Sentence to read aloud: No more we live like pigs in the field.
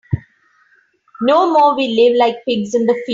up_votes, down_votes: 2, 4